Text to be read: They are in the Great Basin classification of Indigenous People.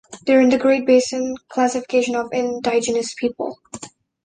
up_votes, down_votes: 1, 2